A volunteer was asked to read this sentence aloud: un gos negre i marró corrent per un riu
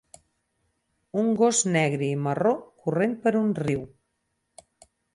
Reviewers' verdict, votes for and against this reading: accepted, 4, 0